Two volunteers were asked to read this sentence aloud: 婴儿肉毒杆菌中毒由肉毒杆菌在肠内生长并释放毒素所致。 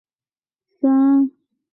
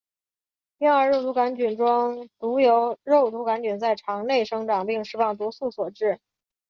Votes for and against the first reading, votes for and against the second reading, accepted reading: 0, 2, 2, 0, second